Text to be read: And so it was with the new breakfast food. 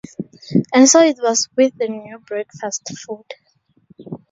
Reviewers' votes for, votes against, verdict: 2, 0, accepted